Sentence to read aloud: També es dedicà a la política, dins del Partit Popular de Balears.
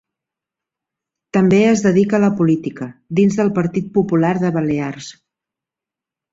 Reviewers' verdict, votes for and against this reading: accepted, 2, 1